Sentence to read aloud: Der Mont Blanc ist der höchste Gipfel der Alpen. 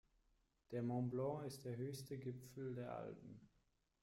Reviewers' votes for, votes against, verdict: 2, 1, accepted